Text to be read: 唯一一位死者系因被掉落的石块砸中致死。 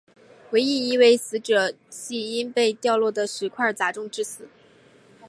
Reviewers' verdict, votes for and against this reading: accepted, 2, 0